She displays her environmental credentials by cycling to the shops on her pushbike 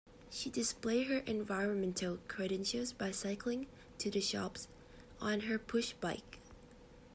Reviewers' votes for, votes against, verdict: 1, 2, rejected